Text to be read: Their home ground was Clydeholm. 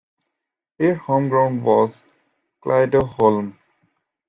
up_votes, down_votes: 2, 0